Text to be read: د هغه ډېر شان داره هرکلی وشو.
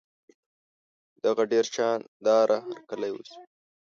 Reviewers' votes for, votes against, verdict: 1, 2, rejected